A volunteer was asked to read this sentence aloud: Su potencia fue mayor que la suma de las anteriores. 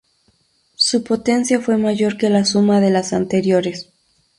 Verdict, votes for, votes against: accepted, 2, 0